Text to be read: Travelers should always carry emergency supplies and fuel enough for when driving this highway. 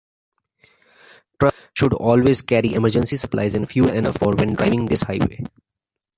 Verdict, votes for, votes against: rejected, 0, 2